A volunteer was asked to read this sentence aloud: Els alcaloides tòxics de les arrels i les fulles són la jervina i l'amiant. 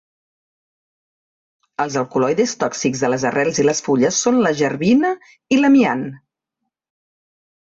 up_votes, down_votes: 1, 2